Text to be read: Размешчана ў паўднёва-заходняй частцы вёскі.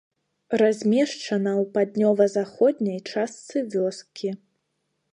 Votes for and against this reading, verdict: 2, 0, accepted